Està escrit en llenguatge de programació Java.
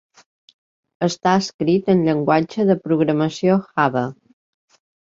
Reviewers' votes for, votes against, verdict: 2, 1, accepted